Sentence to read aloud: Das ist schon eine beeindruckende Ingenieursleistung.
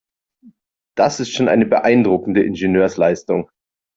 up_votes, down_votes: 3, 0